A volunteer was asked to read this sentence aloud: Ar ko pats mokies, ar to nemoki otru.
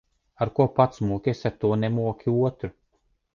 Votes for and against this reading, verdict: 2, 0, accepted